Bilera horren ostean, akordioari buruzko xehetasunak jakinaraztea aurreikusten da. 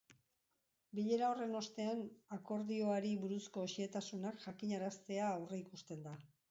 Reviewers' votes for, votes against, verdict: 2, 1, accepted